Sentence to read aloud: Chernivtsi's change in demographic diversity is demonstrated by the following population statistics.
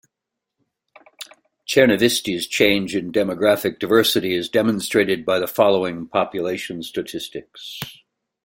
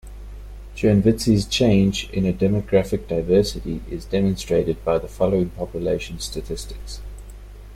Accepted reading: second